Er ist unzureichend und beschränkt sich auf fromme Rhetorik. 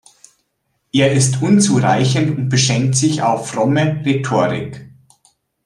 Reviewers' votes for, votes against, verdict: 1, 2, rejected